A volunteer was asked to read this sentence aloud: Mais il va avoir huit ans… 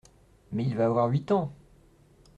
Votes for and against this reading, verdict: 2, 0, accepted